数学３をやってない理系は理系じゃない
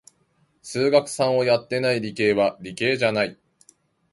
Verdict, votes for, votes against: rejected, 0, 2